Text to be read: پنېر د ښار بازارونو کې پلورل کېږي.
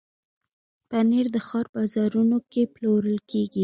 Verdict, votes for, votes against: accepted, 2, 1